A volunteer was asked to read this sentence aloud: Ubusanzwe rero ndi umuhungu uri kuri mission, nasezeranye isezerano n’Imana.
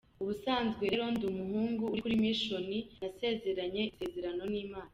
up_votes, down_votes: 2, 1